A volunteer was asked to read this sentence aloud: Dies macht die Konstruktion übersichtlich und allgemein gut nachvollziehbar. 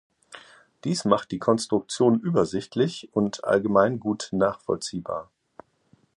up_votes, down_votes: 2, 0